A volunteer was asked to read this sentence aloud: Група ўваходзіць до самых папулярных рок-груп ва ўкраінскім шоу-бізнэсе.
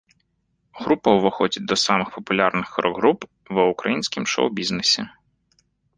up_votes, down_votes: 1, 2